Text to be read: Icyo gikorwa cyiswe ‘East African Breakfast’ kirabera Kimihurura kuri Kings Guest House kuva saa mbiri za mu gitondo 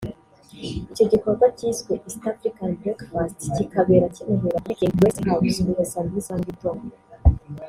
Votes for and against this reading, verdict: 1, 2, rejected